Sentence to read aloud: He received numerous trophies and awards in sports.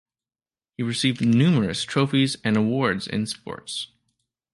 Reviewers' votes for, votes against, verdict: 2, 0, accepted